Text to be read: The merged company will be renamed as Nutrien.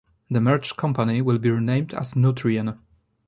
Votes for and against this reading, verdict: 2, 0, accepted